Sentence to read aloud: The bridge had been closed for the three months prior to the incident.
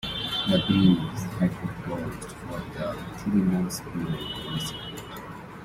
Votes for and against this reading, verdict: 1, 2, rejected